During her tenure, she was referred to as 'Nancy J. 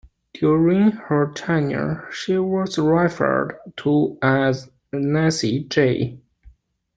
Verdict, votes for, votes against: rejected, 0, 2